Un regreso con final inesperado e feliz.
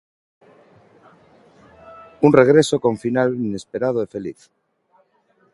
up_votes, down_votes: 3, 0